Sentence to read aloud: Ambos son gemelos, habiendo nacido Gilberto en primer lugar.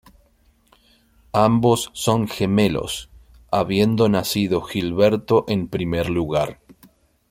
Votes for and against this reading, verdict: 2, 0, accepted